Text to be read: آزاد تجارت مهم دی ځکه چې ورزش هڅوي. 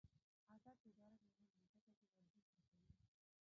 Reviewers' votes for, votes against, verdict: 0, 2, rejected